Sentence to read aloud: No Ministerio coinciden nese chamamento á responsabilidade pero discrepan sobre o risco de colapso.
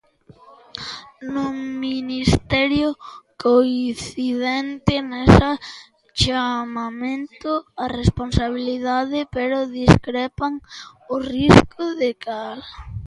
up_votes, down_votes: 0, 2